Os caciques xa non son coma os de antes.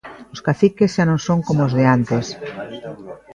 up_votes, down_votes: 0, 2